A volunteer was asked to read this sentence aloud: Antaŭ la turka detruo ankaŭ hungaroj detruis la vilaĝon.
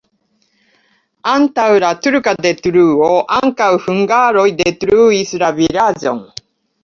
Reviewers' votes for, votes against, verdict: 2, 0, accepted